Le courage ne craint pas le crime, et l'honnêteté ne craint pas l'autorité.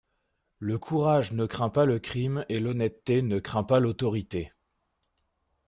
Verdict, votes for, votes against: accepted, 2, 0